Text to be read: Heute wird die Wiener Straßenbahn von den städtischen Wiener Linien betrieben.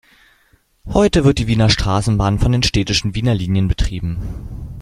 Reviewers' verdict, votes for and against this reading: accepted, 3, 0